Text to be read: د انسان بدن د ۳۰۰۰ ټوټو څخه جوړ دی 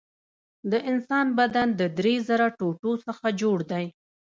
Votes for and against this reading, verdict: 0, 2, rejected